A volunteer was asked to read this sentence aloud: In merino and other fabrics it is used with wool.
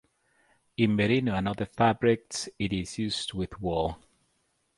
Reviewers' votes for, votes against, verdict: 2, 2, rejected